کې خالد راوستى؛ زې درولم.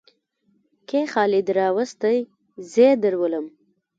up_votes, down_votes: 0, 2